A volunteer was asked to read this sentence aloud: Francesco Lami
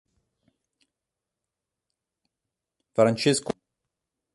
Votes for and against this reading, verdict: 0, 2, rejected